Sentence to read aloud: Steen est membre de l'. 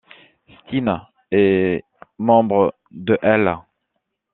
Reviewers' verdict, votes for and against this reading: rejected, 1, 2